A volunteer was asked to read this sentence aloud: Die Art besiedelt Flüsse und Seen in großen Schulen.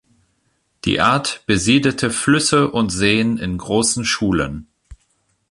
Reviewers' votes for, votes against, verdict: 1, 2, rejected